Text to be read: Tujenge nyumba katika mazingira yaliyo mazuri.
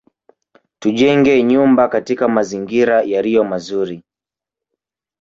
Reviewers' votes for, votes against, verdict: 1, 2, rejected